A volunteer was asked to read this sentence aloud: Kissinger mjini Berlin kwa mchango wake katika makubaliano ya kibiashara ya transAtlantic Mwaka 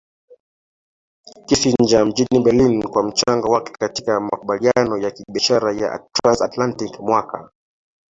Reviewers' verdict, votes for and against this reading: rejected, 0, 2